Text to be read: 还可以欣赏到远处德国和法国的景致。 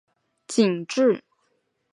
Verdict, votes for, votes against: rejected, 1, 3